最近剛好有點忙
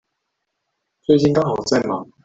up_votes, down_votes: 0, 2